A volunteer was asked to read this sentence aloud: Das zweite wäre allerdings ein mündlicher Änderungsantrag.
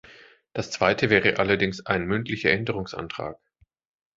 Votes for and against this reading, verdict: 2, 0, accepted